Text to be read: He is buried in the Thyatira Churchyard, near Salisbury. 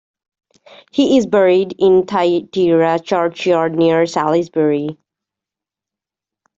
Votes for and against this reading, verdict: 1, 2, rejected